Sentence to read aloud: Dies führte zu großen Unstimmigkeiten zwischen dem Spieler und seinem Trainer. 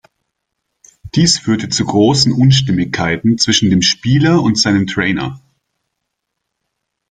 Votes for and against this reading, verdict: 0, 2, rejected